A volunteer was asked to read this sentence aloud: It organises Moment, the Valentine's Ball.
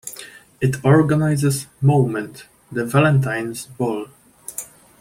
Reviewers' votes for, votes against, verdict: 2, 0, accepted